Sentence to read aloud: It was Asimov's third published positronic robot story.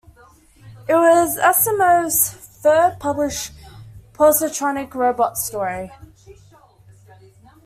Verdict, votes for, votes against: accepted, 2, 1